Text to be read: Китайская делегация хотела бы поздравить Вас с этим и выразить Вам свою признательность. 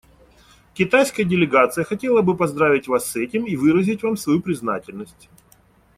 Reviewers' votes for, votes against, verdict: 2, 0, accepted